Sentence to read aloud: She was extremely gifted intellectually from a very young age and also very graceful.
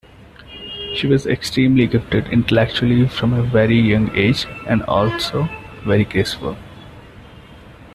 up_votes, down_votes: 2, 0